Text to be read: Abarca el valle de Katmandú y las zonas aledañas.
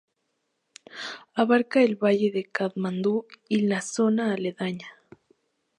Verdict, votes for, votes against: rejected, 0, 2